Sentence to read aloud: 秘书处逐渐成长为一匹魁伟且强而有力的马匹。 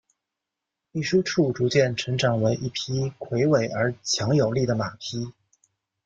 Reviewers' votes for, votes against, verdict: 2, 0, accepted